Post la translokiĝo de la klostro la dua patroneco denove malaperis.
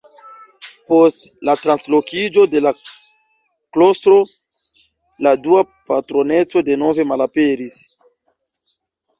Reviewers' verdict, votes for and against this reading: rejected, 0, 2